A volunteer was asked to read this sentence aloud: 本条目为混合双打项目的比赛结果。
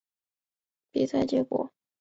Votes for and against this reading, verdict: 1, 3, rejected